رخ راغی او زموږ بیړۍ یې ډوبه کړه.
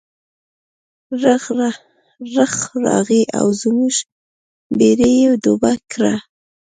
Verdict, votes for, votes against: rejected, 1, 2